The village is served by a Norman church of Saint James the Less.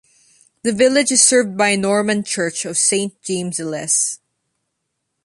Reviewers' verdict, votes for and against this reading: accepted, 2, 0